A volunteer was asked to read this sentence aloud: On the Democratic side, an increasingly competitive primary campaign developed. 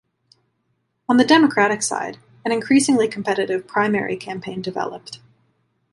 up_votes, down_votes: 2, 0